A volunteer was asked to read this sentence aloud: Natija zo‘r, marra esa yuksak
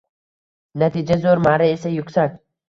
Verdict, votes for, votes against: accepted, 2, 0